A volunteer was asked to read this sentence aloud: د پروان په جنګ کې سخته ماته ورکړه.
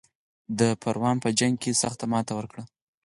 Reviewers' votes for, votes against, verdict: 6, 0, accepted